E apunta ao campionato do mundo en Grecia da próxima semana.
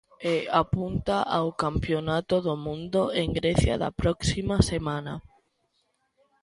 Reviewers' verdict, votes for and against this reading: accepted, 2, 0